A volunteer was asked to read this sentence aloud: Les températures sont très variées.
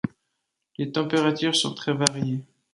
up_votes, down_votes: 0, 2